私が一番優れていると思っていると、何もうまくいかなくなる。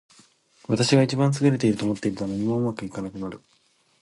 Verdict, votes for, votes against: accepted, 2, 0